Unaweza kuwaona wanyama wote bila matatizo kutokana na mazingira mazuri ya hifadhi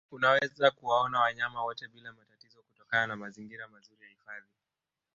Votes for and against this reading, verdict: 1, 2, rejected